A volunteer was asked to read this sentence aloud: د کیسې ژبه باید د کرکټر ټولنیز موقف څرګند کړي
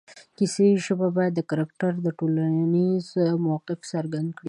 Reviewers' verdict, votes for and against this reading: accepted, 2, 0